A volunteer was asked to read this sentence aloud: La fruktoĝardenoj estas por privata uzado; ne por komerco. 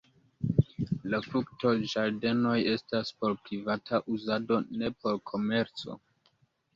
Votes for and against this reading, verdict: 2, 0, accepted